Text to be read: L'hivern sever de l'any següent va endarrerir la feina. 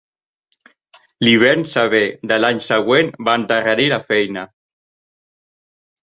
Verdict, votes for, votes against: rejected, 1, 2